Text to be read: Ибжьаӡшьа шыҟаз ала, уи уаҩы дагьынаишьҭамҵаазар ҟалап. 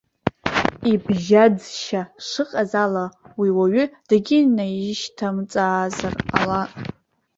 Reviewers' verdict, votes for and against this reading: accepted, 2, 0